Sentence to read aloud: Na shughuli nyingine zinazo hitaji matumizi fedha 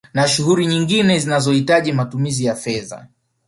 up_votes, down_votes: 1, 2